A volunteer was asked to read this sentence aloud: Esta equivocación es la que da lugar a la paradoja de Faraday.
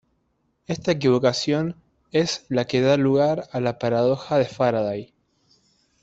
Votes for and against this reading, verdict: 2, 0, accepted